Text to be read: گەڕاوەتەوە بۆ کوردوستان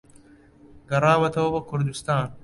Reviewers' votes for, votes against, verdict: 2, 0, accepted